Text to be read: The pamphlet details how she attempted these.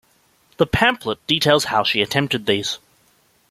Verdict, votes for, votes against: accepted, 2, 0